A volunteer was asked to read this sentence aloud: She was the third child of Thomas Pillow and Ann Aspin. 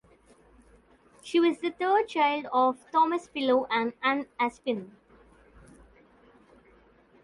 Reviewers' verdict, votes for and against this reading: accepted, 3, 0